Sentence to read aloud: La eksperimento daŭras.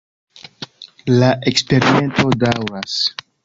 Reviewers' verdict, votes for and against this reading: rejected, 1, 2